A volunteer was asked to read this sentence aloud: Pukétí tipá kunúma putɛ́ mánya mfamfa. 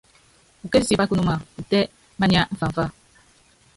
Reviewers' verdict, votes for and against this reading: rejected, 0, 2